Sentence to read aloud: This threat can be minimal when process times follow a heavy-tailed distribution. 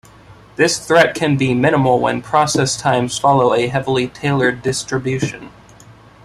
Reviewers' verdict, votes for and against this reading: rejected, 0, 2